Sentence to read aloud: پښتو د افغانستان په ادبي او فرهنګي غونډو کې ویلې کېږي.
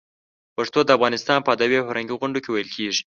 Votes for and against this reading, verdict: 2, 0, accepted